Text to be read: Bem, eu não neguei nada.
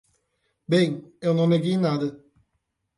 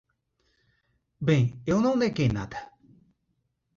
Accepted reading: second